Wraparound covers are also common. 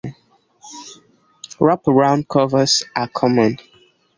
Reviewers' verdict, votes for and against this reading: rejected, 1, 2